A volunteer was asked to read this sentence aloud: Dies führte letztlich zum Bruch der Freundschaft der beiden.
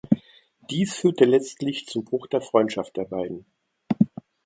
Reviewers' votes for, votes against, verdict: 1, 2, rejected